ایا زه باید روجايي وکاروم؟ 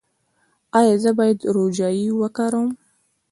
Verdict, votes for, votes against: rejected, 1, 2